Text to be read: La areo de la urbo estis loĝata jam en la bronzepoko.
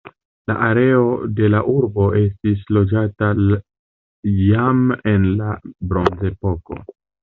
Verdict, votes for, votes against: rejected, 0, 2